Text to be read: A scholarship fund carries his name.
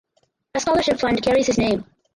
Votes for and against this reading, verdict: 0, 4, rejected